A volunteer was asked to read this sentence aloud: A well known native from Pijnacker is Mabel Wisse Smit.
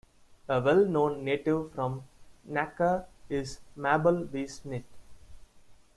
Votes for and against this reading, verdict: 1, 2, rejected